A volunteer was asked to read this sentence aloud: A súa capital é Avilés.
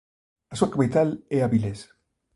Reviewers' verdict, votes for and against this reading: accepted, 2, 1